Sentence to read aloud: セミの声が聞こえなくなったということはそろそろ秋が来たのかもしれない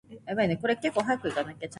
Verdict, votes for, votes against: rejected, 0, 2